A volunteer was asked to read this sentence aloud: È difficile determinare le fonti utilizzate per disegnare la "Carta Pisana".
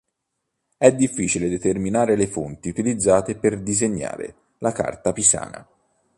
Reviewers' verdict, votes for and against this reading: accepted, 4, 0